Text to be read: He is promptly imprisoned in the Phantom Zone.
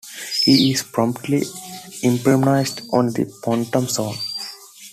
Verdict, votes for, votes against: rejected, 1, 2